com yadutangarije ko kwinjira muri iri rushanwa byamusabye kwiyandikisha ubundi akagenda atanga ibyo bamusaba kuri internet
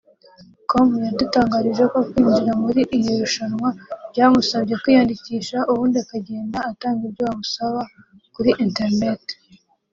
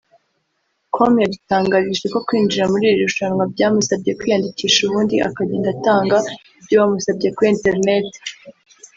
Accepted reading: first